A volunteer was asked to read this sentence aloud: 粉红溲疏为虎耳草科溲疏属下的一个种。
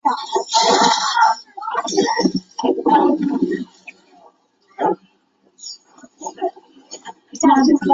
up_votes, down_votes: 0, 2